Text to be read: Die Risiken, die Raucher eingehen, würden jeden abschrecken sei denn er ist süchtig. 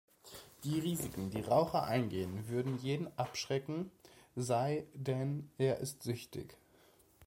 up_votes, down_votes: 2, 0